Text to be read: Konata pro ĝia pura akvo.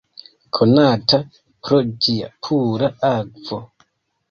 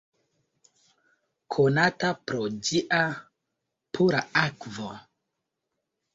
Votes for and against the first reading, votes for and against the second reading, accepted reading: 2, 3, 2, 1, second